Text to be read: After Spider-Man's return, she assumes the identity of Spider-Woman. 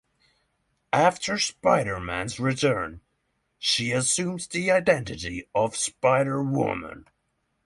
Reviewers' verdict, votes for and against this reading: accepted, 3, 0